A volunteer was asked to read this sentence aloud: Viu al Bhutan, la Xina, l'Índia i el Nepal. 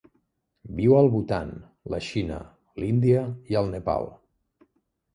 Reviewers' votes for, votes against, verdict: 3, 0, accepted